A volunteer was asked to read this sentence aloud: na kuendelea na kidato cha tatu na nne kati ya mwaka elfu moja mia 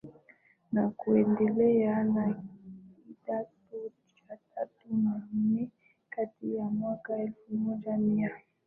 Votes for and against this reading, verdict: 0, 2, rejected